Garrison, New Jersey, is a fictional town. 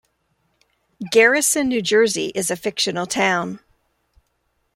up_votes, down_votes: 3, 0